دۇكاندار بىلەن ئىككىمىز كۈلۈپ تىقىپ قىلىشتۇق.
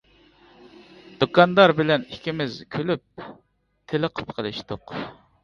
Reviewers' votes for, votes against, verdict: 0, 2, rejected